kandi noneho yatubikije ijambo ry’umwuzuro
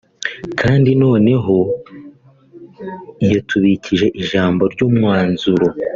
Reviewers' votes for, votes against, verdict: 1, 2, rejected